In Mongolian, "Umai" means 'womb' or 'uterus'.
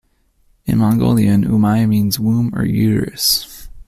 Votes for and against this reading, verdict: 2, 0, accepted